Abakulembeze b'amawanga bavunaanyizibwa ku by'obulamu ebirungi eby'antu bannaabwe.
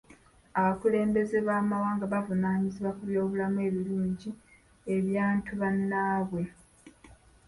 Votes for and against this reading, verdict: 1, 2, rejected